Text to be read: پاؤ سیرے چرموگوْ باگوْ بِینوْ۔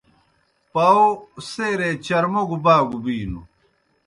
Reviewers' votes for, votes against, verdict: 2, 0, accepted